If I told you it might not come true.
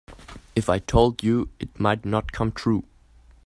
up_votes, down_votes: 2, 0